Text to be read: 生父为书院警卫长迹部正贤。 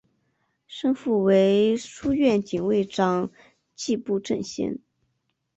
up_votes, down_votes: 3, 0